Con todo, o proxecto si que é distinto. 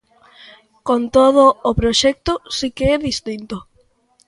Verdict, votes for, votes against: accepted, 2, 0